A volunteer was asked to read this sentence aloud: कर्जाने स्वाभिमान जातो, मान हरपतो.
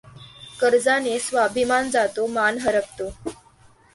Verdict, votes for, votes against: accepted, 2, 0